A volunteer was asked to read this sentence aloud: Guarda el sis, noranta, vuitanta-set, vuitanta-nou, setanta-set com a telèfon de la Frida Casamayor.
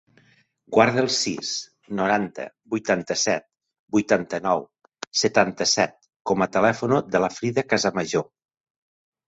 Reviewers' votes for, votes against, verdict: 1, 2, rejected